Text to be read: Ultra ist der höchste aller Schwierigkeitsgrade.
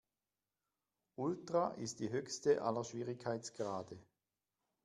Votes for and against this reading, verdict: 1, 2, rejected